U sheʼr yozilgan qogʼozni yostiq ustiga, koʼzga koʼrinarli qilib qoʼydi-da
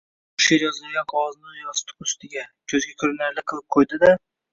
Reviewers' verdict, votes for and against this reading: rejected, 0, 2